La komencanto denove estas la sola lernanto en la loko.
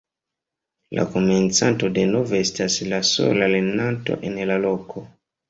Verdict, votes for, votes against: accepted, 2, 1